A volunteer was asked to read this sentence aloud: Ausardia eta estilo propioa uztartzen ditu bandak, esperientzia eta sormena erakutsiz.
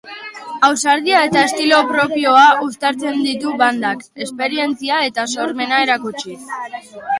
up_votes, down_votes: 3, 0